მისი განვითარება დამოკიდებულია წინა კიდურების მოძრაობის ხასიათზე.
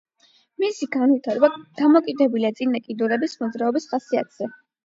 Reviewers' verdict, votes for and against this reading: accepted, 8, 0